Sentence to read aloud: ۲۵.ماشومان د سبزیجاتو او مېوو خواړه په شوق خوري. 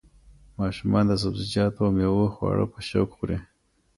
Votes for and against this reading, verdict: 0, 2, rejected